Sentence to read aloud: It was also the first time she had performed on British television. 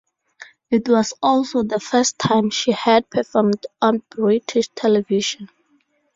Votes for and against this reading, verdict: 2, 0, accepted